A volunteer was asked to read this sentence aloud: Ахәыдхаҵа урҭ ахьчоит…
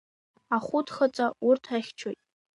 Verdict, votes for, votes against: accepted, 2, 1